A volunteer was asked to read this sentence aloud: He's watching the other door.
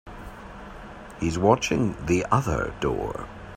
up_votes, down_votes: 3, 0